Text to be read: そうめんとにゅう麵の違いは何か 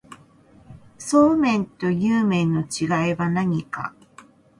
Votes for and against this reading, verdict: 2, 0, accepted